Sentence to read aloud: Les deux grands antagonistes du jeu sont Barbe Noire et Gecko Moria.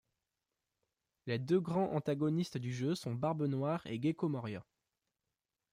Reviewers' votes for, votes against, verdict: 2, 0, accepted